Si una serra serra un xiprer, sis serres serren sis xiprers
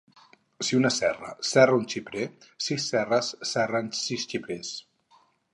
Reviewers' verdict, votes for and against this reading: accepted, 4, 0